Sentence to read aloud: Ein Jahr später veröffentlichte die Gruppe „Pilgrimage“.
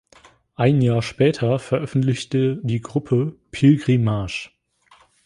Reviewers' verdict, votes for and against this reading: accepted, 2, 0